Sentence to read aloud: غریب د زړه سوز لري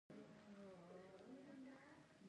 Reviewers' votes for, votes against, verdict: 1, 2, rejected